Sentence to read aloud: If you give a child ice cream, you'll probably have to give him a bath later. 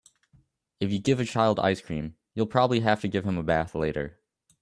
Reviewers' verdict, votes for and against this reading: accepted, 2, 0